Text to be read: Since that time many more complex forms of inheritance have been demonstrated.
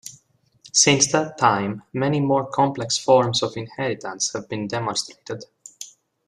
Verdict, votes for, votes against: accepted, 2, 1